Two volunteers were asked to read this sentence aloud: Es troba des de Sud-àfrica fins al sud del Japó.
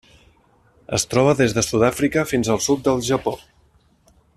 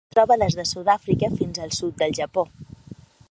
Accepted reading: first